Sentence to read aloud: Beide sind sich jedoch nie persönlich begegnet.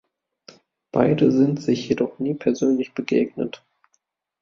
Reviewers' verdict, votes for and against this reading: accepted, 2, 0